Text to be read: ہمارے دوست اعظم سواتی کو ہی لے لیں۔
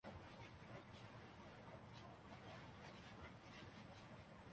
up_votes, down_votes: 1, 2